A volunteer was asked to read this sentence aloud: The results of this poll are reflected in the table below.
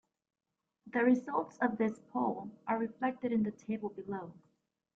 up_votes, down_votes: 2, 0